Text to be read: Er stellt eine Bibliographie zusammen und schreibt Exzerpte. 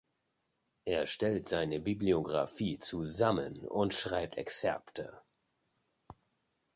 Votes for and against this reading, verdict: 0, 2, rejected